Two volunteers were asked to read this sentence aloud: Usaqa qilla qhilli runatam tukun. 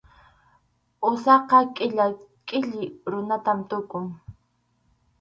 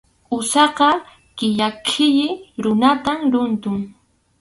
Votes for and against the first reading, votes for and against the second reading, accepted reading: 2, 2, 2, 0, second